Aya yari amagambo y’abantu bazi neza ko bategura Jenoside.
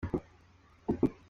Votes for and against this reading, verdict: 0, 2, rejected